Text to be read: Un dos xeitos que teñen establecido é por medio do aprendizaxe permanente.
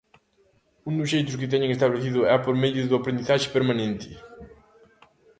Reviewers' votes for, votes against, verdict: 1, 2, rejected